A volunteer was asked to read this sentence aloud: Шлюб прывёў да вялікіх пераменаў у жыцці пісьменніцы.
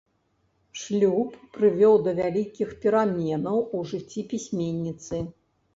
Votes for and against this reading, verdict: 1, 2, rejected